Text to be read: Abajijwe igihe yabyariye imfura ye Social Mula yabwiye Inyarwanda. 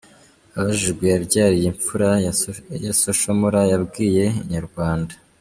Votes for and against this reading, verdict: 0, 2, rejected